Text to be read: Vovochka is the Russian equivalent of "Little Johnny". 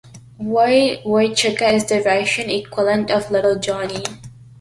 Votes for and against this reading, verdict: 2, 0, accepted